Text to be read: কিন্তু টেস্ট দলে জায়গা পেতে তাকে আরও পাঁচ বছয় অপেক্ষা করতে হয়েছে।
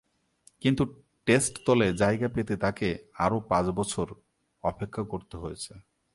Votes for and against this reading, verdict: 3, 0, accepted